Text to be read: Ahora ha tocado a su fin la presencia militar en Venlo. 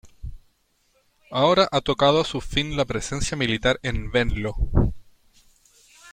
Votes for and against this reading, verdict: 0, 2, rejected